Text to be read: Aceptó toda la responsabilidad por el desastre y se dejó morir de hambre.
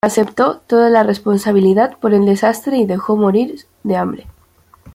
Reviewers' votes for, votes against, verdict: 2, 1, accepted